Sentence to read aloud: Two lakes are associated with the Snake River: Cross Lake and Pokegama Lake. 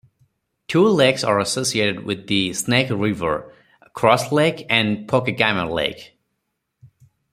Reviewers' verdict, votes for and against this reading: accepted, 4, 0